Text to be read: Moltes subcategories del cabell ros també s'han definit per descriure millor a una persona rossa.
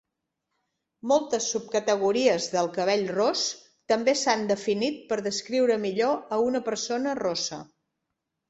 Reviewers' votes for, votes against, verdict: 4, 0, accepted